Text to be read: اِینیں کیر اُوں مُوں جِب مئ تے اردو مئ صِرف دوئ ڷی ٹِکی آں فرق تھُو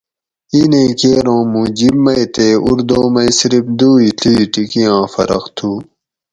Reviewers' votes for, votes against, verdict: 4, 0, accepted